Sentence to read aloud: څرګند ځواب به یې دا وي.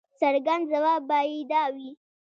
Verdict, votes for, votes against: rejected, 1, 2